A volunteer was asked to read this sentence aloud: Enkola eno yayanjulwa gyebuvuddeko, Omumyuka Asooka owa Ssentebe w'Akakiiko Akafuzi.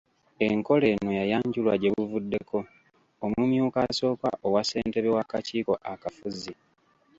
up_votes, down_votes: 2, 0